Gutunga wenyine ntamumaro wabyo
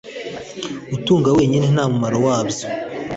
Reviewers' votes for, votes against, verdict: 2, 0, accepted